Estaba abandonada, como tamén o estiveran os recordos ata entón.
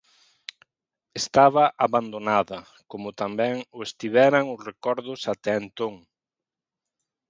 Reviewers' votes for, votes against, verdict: 0, 2, rejected